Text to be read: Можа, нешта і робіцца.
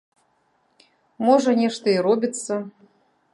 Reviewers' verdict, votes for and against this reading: accepted, 2, 0